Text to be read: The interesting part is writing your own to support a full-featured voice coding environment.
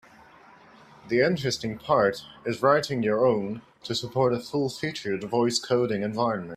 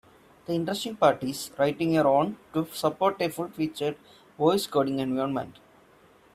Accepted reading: first